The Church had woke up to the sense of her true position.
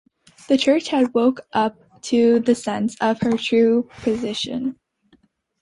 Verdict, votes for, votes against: accepted, 2, 0